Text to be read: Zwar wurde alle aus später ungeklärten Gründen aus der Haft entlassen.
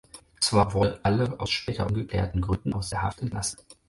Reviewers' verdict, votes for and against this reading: rejected, 2, 4